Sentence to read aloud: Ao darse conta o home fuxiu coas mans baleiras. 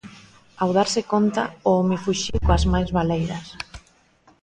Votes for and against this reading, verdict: 1, 2, rejected